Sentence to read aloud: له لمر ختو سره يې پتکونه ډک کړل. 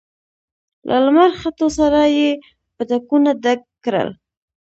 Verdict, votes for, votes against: accepted, 2, 0